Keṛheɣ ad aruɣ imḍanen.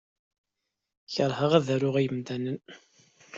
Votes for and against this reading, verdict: 2, 1, accepted